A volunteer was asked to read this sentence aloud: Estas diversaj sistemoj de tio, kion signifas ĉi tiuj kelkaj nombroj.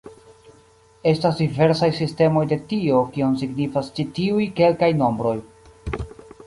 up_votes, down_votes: 2, 1